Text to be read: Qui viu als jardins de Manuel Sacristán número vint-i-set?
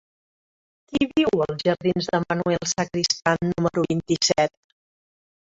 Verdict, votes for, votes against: rejected, 1, 2